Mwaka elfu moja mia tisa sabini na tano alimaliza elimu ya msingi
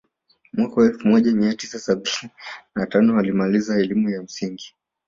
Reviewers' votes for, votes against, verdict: 0, 2, rejected